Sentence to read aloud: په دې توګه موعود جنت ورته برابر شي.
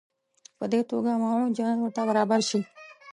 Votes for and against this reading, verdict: 1, 2, rejected